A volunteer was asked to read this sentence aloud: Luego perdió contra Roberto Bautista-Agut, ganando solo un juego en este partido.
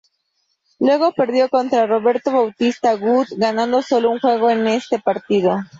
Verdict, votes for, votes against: accepted, 4, 0